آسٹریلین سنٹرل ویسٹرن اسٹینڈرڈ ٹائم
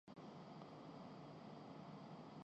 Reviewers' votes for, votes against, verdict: 0, 2, rejected